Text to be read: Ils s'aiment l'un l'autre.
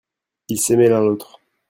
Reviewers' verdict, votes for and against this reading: rejected, 1, 2